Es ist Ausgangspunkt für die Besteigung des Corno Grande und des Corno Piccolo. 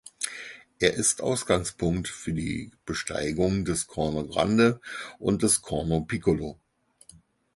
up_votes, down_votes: 2, 4